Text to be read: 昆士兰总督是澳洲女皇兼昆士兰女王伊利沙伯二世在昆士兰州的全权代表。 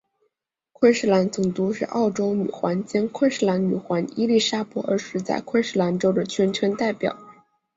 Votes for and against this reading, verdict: 4, 0, accepted